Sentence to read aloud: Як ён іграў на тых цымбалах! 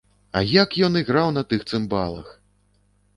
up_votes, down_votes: 1, 2